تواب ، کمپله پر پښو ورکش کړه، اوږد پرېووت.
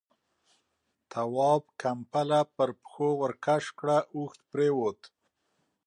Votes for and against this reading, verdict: 2, 0, accepted